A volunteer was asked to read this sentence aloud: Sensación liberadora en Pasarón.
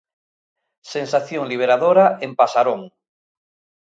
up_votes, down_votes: 2, 0